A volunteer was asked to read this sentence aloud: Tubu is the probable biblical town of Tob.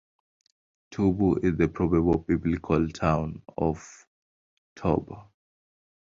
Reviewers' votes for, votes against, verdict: 2, 0, accepted